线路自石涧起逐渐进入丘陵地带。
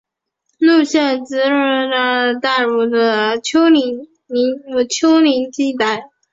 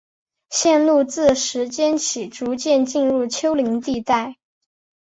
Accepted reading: second